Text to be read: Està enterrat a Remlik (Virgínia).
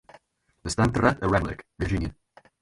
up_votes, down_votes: 0, 4